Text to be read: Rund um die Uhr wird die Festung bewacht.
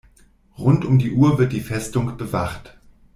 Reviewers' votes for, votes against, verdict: 2, 0, accepted